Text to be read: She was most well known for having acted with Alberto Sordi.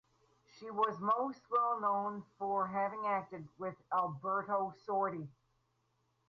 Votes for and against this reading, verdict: 4, 0, accepted